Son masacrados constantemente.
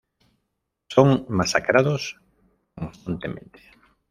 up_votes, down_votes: 0, 2